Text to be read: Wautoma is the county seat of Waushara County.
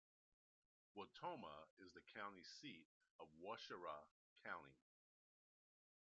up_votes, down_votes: 1, 2